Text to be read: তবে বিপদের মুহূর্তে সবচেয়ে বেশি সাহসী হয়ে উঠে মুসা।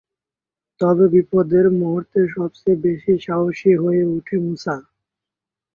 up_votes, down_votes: 8, 1